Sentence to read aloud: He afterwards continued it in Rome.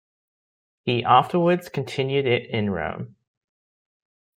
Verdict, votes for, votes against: accepted, 2, 1